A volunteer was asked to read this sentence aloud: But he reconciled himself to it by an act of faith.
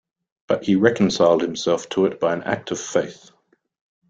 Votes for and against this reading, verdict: 2, 0, accepted